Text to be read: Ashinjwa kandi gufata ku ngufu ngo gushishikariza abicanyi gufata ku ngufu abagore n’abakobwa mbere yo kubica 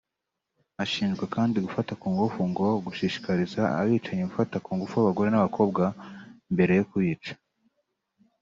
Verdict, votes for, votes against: accepted, 2, 0